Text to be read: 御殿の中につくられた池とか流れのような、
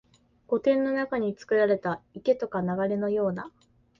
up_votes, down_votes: 4, 1